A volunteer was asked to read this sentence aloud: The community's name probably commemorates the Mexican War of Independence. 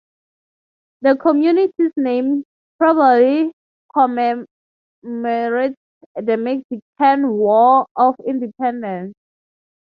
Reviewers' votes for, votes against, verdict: 3, 3, rejected